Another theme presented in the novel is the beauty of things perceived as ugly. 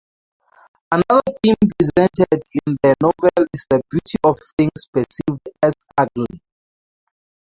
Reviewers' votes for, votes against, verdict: 0, 4, rejected